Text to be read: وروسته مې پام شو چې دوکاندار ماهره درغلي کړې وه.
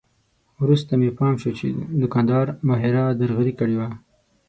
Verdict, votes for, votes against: accepted, 6, 0